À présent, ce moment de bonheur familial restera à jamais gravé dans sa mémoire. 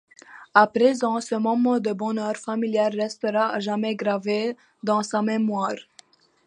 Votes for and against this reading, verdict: 2, 0, accepted